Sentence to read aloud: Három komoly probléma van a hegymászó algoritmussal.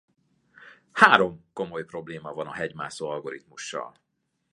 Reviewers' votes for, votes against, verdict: 2, 0, accepted